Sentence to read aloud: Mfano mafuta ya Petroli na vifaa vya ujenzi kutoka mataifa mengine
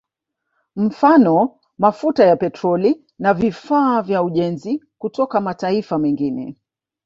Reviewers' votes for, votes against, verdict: 2, 0, accepted